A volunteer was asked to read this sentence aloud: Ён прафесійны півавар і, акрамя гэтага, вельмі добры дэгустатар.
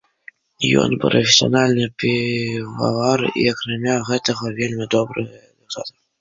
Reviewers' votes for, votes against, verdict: 0, 2, rejected